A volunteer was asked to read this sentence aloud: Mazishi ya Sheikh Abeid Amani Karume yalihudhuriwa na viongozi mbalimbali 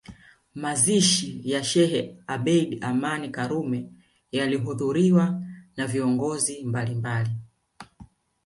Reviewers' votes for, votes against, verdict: 2, 0, accepted